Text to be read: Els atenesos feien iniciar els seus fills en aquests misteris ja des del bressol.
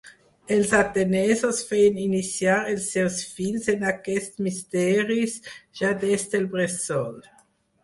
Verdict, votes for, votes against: accepted, 4, 0